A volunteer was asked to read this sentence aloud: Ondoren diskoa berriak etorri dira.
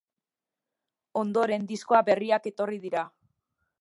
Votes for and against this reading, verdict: 1, 2, rejected